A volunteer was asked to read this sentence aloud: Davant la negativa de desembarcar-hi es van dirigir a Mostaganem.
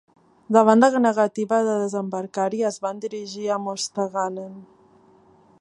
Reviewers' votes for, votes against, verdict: 1, 2, rejected